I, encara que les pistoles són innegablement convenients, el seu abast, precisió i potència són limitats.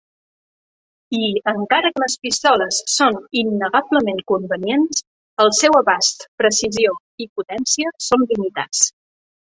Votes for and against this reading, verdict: 4, 0, accepted